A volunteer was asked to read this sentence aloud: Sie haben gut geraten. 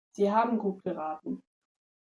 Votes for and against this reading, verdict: 2, 0, accepted